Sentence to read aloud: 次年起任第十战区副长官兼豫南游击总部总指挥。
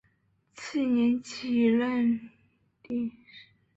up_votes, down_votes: 2, 4